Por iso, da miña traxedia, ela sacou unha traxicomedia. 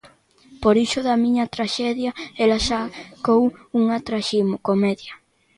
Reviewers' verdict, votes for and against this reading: rejected, 0, 2